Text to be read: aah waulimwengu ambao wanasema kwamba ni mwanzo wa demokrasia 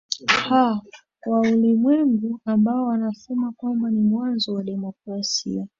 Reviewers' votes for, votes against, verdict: 1, 2, rejected